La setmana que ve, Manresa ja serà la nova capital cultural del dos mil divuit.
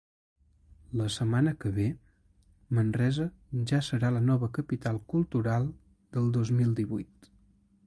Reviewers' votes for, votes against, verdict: 2, 0, accepted